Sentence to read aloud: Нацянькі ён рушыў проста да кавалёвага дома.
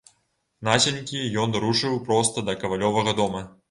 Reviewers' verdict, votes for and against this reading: rejected, 1, 2